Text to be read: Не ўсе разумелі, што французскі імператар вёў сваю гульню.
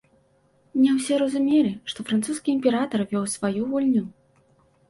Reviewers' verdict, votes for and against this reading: accepted, 2, 0